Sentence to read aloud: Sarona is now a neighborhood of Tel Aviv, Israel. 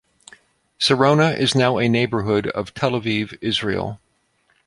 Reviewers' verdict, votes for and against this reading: accepted, 2, 0